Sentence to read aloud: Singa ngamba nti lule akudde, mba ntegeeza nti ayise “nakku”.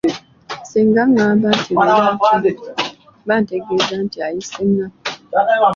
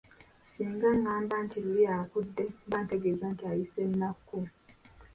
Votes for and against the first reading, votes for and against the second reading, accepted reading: 1, 3, 2, 1, second